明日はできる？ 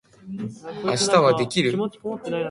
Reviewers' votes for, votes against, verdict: 9, 0, accepted